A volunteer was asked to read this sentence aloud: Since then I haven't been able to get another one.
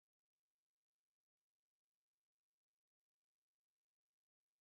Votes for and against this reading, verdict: 0, 3, rejected